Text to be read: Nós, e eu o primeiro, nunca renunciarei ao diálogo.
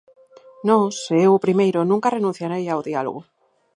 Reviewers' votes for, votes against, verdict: 2, 2, rejected